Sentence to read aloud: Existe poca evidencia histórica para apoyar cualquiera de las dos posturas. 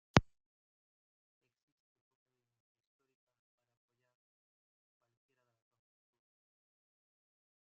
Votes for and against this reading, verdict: 0, 2, rejected